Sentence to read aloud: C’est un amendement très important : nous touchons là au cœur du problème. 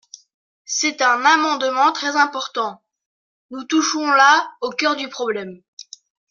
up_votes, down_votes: 2, 0